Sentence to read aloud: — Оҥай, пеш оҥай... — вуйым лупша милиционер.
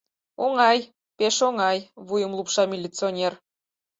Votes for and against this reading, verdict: 4, 0, accepted